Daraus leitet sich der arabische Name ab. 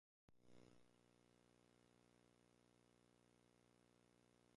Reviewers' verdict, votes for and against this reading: rejected, 0, 2